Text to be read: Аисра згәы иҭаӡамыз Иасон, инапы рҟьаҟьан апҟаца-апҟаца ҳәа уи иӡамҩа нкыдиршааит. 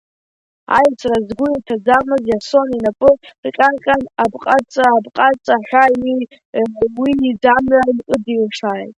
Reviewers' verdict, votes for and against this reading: rejected, 0, 2